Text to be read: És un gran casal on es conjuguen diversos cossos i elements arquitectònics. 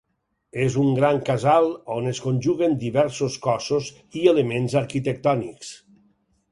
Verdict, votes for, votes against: accepted, 4, 0